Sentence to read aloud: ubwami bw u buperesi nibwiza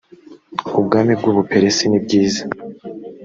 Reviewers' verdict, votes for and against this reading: accepted, 3, 0